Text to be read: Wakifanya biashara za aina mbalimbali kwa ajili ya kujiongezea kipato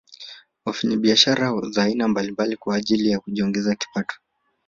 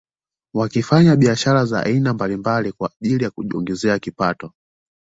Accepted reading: second